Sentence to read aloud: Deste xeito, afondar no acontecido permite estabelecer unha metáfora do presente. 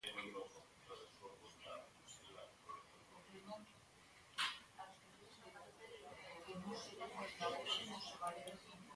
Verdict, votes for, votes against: rejected, 0, 2